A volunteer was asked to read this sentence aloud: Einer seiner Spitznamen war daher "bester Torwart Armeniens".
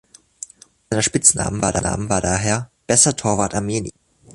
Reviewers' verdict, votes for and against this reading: rejected, 0, 2